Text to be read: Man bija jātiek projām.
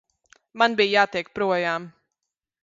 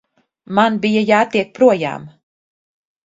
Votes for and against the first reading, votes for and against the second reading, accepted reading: 1, 2, 2, 0, second